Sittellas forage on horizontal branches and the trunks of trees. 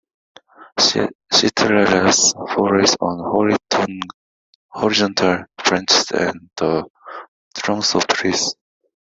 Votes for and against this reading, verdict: 1, 2, rejected